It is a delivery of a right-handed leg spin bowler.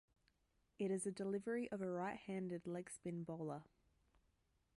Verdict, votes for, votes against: accepted, 2, 0